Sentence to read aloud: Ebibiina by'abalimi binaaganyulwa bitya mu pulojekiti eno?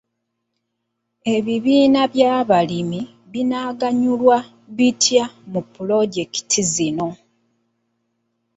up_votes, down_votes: 2, 0